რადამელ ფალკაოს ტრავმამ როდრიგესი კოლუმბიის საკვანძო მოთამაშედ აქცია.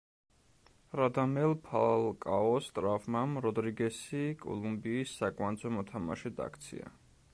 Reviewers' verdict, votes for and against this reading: rejected, 0, 2